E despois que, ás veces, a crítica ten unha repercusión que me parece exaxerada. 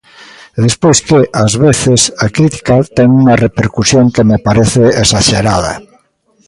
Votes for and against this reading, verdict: 2, 0, accepted